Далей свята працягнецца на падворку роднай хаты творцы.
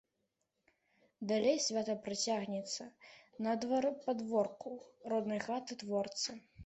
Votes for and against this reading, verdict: 0, 2, rejected